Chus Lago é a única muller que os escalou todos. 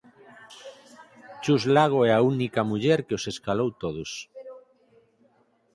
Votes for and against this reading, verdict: 4, 0, accepted